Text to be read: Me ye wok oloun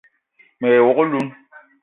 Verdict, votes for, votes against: accepted, 2, 0